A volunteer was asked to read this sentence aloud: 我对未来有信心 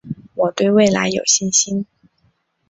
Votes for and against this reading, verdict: 3, 0, accepted